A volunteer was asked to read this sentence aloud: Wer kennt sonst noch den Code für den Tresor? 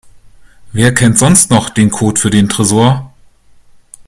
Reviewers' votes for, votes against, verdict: 3, 0, accepted